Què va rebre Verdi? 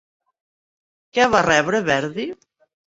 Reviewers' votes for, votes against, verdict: 4, 0, accepted